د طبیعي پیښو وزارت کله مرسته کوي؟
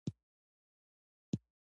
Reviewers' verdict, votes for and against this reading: accepted, 2, 0